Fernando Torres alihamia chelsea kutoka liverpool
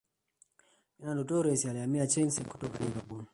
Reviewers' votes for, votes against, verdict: 0, 2, rejected